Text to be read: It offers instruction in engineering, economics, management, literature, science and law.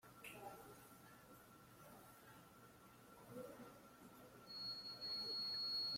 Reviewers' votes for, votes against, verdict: 0, 2, rejected